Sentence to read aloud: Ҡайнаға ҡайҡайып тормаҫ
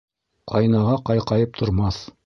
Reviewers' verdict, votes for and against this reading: rejected, 1, 2